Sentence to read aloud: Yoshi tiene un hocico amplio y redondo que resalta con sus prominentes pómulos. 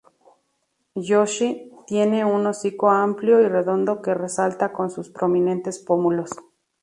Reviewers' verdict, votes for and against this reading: accepted, 2, 0